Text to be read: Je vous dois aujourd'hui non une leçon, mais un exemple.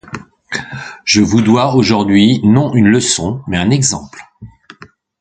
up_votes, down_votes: 2, 0